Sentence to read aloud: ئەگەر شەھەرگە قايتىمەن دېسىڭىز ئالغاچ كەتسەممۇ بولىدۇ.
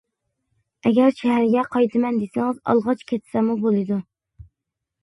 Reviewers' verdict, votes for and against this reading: accepted, 2, 0